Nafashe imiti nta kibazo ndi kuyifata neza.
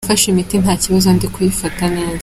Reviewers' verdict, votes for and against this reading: accepted, 2, 1